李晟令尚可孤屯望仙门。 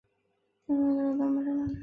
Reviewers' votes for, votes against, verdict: 0, 2, rejected